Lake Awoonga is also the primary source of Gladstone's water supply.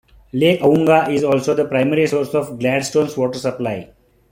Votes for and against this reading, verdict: 2, 0, accepted